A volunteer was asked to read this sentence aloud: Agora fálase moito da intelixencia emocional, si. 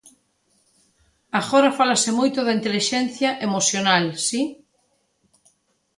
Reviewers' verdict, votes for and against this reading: accepted, 2, 0